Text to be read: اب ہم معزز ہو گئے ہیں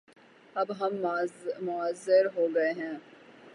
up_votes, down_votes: 0, 3